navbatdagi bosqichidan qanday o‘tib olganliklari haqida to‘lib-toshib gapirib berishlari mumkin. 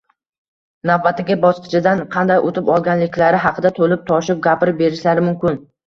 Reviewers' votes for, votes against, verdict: 1, 2, rejected